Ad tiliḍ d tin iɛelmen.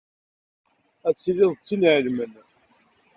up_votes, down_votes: 2, 0